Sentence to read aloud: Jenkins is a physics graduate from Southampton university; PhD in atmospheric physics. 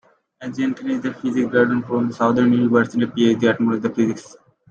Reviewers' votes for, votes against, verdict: 1, 2, rejected